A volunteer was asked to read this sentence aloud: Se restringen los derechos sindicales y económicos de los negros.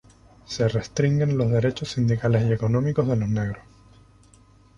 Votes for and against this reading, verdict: 2, 2, rejected